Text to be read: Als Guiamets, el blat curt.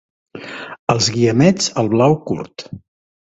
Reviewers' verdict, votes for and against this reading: rejected, 0, 2